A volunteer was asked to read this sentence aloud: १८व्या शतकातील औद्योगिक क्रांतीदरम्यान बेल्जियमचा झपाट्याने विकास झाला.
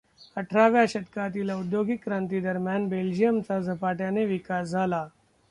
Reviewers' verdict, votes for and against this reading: rejected, 0, 2